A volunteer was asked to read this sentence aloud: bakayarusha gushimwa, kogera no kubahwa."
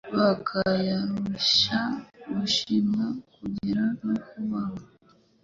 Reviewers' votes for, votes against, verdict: 1, 2, rejected